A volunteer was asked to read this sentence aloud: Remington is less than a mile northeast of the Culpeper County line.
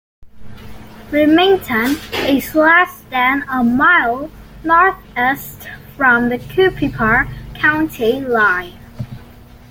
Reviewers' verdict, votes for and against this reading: rejected, 1, 2